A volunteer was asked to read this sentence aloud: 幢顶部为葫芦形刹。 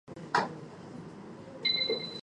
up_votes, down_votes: 0, 4